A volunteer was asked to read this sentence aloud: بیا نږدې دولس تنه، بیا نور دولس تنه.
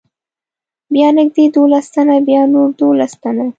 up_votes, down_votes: 2, 0